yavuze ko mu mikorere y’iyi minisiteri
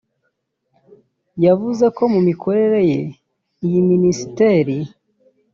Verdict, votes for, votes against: rejected, 1, 2